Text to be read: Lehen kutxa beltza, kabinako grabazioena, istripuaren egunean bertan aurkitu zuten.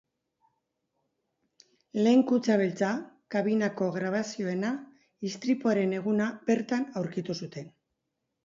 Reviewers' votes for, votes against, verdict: 0, 4, rejected